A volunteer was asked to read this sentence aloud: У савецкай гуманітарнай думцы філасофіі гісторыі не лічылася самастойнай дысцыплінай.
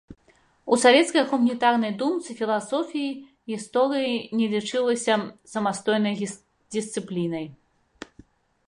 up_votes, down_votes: 0, 2